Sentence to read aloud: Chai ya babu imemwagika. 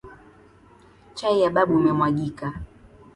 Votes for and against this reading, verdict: 2, 0, accepted